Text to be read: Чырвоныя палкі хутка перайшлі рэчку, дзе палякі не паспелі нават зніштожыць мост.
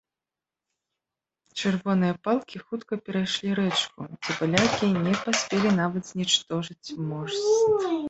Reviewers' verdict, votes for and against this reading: rejected, 0, 3